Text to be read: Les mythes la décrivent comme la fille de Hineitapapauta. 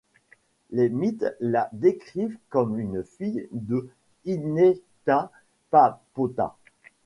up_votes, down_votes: 1, 2